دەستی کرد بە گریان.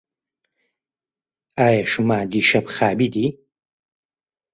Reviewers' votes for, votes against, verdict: 1, 2, rejected